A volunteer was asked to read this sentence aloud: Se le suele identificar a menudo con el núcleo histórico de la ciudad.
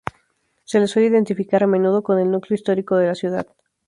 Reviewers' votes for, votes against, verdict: 2, 0, accepted